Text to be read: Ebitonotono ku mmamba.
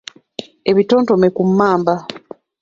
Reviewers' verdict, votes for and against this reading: rejected, 1, 2